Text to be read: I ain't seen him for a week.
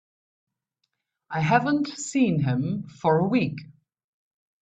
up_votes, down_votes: 0, 2